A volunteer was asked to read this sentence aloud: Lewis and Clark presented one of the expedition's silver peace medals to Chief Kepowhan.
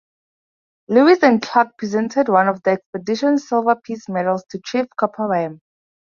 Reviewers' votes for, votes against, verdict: 2, 0, accepted